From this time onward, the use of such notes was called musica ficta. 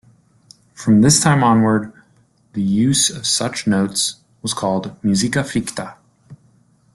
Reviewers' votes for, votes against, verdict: 2, 0, accepted